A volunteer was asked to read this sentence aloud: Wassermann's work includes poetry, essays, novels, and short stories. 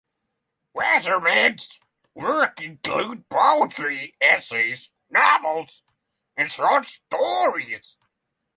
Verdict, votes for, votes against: accepted, 3, 0